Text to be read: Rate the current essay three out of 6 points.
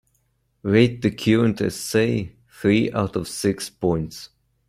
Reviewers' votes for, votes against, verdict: 0, 2, rejected